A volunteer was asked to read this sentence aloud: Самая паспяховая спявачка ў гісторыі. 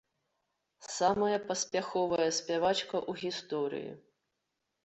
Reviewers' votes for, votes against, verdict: 0, 2, rejected